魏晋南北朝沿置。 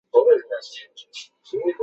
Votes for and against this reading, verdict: 2, 0, accepted